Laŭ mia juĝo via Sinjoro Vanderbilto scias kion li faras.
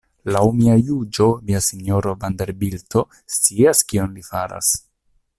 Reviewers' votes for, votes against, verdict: 2, 0, accepted